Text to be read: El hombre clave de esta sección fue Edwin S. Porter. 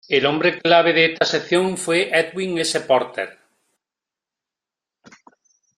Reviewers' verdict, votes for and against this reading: accepted, 2, 0